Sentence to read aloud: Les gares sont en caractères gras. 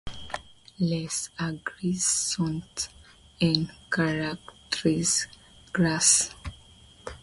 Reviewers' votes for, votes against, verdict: 2, 0, accepted